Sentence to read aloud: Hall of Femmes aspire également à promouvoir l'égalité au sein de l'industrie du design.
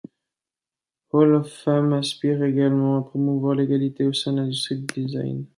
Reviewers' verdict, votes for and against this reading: rejected, 0, 2